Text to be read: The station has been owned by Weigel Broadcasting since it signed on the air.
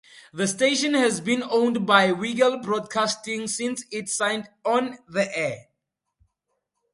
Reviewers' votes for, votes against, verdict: 4, 0, accepted